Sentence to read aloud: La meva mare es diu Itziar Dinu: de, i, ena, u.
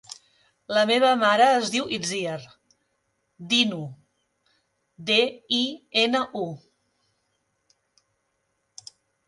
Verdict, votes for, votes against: rejected, 0, 2